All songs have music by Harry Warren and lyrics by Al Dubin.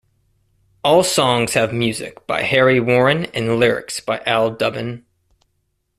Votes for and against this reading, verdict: 2, 1, accepted